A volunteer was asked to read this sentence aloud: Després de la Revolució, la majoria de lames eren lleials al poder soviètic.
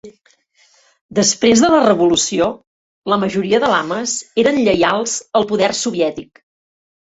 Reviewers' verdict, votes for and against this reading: accepted, 3, 0